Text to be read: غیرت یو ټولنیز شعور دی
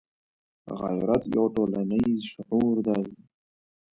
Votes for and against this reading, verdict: 2, 0, accepted